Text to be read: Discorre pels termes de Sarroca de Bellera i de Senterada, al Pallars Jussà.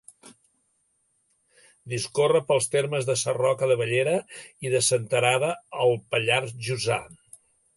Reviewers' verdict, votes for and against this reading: accepted, 2, 0